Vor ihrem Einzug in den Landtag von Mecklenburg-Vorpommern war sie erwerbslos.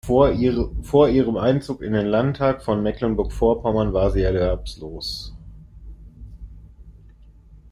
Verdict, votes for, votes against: rejected, 0, 2